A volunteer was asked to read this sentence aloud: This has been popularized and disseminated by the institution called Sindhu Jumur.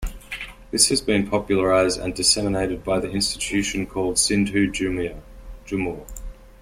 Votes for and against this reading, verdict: 1, 2, rejected